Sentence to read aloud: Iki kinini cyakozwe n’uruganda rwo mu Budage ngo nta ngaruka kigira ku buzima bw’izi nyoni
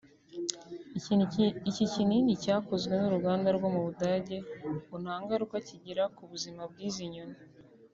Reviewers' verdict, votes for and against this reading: rejected, 1, 2